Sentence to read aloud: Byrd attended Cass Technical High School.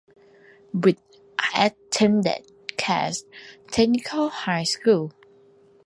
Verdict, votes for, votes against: rejected, 1, 2